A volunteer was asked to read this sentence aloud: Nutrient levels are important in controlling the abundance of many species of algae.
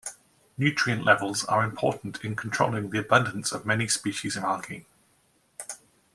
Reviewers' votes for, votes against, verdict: 2, 1, accepted